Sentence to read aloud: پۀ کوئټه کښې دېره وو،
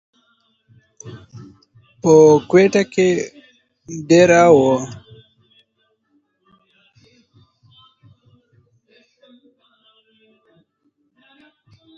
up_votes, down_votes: 1, 2